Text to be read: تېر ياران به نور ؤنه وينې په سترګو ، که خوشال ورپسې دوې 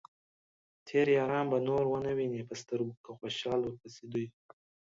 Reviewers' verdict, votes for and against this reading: accepted, 2, 0